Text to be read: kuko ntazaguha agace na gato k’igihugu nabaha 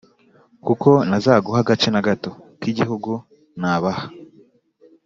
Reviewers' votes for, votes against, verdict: 2, 0, accepted